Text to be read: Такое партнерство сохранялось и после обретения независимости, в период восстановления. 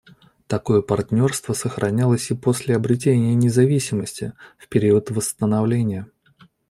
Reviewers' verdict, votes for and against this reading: accepted, 2, 0